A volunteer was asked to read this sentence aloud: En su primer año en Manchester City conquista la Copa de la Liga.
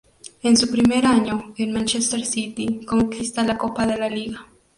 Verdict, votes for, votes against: accepted, 4, 0